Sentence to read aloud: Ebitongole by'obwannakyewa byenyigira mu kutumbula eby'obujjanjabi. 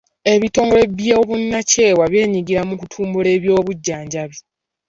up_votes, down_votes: 1, 2